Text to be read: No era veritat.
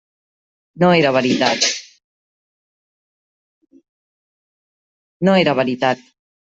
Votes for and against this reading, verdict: 1, 2, rejected